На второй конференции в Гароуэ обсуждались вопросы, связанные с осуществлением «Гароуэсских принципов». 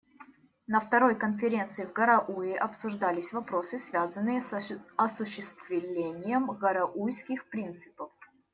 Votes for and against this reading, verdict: 0, 2, rejected